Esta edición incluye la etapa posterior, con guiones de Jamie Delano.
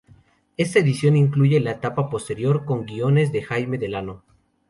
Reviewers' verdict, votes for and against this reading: rejected, 2, 2